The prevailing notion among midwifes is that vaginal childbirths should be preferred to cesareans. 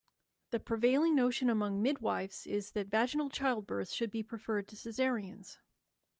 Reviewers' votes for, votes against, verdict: 2, 0, accepted